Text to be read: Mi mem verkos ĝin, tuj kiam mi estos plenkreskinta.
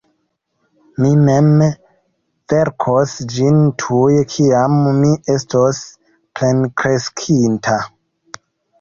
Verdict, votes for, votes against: rejected, 1, 2